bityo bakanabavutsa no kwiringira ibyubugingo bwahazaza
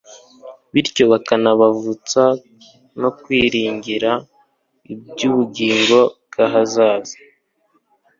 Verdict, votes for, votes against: accepted, 3, 0